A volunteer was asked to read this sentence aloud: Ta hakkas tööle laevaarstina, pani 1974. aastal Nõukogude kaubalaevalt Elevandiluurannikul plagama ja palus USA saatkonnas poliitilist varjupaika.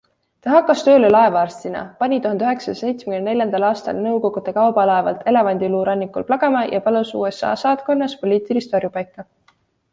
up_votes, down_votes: 0, 2